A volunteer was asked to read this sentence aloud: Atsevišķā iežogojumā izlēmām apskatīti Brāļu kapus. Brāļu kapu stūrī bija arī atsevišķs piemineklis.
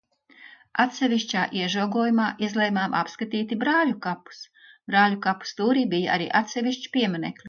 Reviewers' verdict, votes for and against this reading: rejected, 0, 2